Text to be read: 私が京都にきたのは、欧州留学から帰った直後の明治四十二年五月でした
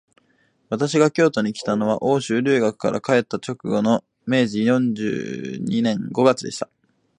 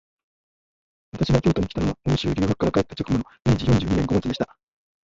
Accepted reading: first